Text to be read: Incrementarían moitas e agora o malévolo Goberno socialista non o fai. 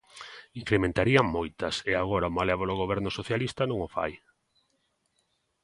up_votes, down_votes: 2, 0